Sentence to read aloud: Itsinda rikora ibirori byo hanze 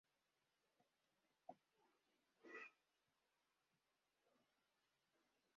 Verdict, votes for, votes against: rejected, 0, 3